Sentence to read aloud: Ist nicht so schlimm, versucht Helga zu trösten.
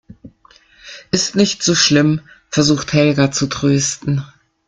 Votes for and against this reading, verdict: 2, 0, accepted